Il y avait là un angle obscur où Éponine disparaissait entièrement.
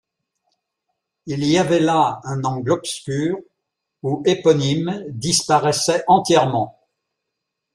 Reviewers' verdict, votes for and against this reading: rejected, 0, 2